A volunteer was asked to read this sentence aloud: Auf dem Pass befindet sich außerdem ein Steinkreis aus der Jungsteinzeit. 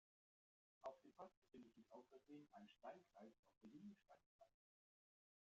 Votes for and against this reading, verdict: 0, 2, rejected